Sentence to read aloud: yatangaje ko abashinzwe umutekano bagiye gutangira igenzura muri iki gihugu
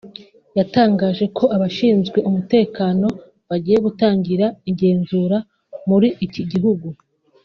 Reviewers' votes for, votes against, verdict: 2, 0, accepted